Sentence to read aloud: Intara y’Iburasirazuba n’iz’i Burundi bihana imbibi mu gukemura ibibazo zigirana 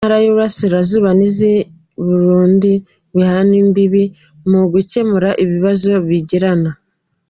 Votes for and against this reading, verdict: 0, 2, rejected